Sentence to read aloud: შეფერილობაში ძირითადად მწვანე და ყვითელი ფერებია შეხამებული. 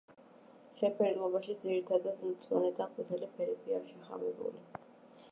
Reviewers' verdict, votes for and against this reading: accepted, 2, 0